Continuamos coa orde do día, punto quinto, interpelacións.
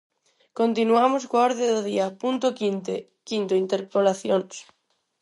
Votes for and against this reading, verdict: 0, 4, rejected